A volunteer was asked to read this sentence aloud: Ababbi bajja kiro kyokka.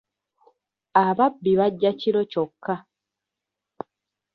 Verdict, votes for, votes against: rejected, 1, 2